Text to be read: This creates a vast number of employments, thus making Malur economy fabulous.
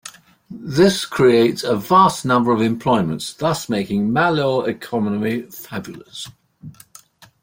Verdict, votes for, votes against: accepted, 2, 0